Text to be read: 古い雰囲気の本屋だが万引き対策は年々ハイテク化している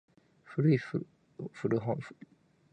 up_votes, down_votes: 0, 2